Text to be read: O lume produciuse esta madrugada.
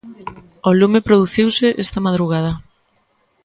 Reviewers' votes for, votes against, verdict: 3, 0, accepted